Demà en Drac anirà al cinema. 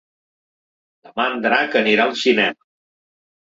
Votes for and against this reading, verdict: 2, 3, rejected